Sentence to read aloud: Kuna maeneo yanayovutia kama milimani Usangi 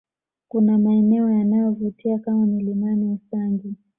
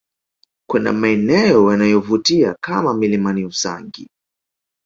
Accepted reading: first